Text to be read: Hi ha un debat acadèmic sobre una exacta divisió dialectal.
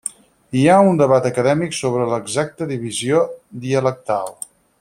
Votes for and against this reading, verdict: 0, 4, rejected